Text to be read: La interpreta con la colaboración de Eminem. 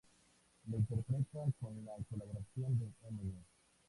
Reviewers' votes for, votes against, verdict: 0, 2, rejected